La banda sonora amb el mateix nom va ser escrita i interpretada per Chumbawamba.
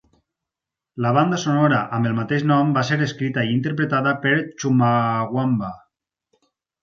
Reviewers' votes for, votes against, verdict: 0, 4, rejected